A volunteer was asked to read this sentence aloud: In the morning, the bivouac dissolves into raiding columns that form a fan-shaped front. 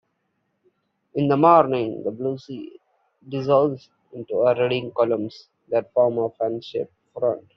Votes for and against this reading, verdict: 0, 2, rejected